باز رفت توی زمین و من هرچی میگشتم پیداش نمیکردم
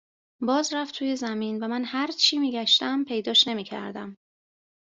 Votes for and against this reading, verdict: 2, 0, accepted